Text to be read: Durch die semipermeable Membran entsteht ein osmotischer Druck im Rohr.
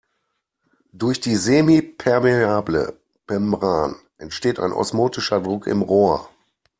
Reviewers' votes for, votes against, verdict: 2, 1, accepted